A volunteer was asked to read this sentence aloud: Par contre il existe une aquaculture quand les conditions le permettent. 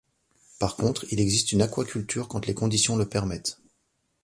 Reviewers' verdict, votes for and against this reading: accepted, 2, 0